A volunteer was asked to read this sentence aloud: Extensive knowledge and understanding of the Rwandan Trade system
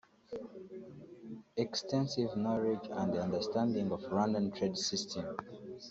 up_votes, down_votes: 1, 2